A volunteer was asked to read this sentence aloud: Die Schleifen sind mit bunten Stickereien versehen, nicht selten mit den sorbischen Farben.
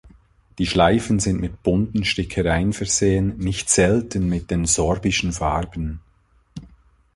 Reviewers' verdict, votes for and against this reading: accepted, 2, 0